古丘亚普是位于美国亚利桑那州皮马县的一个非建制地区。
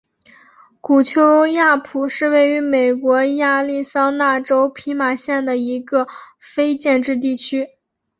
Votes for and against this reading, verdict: 0, 2, rejected